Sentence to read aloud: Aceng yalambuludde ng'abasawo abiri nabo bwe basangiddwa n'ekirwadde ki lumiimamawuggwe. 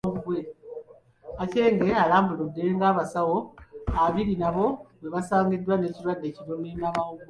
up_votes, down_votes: 0, 2